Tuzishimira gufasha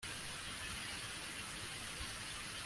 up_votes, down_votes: 0, 2